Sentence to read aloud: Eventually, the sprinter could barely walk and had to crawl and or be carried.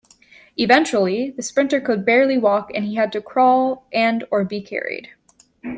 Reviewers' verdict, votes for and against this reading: accepted, 2, 1